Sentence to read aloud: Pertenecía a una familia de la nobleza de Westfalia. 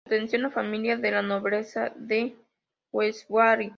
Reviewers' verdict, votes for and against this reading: accepted, 2, 1